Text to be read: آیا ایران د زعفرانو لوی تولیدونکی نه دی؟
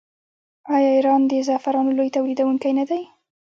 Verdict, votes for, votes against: accepted, 2, 0